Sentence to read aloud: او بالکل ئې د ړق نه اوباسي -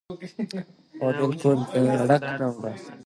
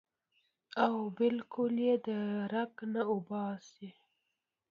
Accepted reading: second